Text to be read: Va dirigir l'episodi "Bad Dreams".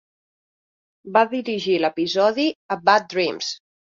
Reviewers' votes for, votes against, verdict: 1, 2, rejected